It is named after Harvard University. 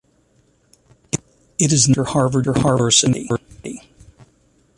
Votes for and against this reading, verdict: 0, 2, rejected